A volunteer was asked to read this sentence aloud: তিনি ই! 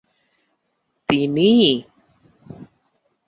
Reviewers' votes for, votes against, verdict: 3, 0, accepted